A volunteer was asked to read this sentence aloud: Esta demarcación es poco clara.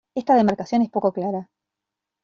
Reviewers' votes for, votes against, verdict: 0, 2, rejected